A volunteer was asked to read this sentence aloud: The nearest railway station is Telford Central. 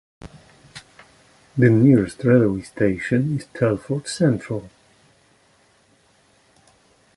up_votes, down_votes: 2, 0